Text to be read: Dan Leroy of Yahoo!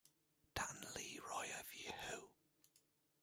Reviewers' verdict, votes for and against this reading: accepted, 2, 1